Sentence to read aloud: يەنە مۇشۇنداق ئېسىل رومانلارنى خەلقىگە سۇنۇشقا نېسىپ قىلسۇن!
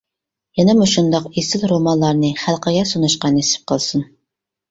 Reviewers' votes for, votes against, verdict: 2, 0, accepted